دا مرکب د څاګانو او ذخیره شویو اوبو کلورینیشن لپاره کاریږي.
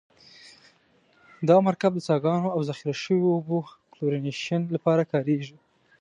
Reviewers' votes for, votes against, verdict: 2, 0, accepted